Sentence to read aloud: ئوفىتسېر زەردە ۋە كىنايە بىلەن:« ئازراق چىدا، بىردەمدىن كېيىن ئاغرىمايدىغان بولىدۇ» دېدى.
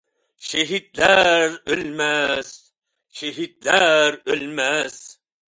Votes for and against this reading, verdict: 0, 2, rejected